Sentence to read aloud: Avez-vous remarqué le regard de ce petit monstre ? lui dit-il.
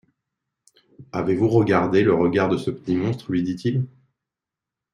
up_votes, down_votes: 0, 2